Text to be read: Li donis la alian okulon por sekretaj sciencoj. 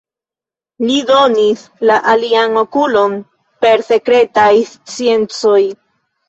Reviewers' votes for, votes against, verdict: 0, 2, rejected